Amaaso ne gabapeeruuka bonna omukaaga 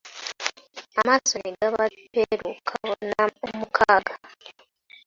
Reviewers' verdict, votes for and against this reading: rejected, 0, 2